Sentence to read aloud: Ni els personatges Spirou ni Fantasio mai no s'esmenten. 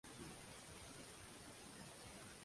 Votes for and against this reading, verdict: 0, 2, rejected